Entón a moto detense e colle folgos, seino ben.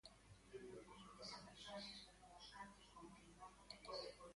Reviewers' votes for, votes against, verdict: 0, 2, rejected